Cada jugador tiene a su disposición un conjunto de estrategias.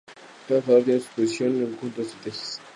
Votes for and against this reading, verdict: 0, 2, rejected